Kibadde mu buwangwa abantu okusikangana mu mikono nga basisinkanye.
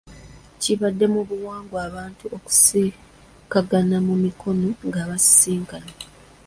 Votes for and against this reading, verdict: 1, 2, rejected